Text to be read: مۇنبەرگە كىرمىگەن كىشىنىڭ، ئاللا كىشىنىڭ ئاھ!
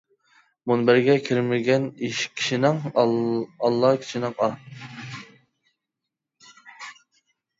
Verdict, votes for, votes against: rejected, 0, 2